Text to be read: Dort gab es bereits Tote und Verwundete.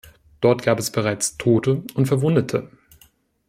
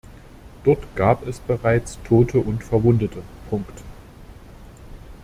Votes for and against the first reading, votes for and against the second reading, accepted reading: 2, 0, 0, 2, first